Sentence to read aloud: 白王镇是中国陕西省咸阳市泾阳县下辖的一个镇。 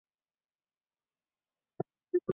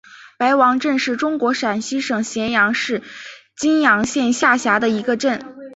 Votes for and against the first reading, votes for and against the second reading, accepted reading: 1, 2, 2, 1, second